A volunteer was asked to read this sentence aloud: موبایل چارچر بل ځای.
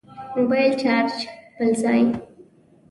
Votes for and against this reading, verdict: 0, 2, rejected